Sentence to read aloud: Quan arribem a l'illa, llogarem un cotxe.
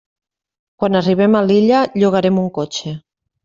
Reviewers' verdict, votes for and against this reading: accepted, 3, 0